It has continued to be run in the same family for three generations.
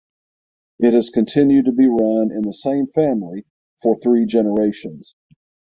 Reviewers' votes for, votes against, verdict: 6, 0, accepted